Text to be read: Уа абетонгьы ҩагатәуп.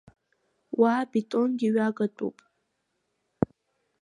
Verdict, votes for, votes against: accepted, 2, 0